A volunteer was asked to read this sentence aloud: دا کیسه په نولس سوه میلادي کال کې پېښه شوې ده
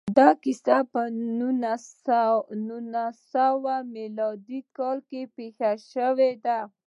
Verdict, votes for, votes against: rejected, 1, 2